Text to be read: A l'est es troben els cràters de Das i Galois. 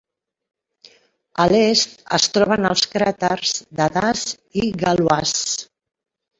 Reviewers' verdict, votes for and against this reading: accepted, 3, 0